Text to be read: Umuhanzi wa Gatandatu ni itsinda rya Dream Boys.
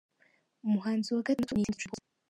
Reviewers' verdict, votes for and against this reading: rejected, 1, 3